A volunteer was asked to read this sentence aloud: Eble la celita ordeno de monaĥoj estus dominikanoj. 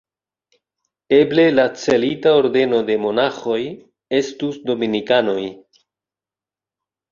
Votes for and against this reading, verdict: 1, 2, rejected